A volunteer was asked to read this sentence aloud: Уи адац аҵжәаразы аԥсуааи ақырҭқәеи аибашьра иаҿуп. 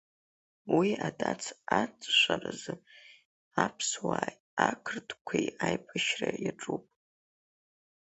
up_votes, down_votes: 2, 1